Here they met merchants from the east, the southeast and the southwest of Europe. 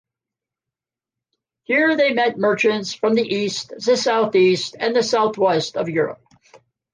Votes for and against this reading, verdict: 2, 0, accepted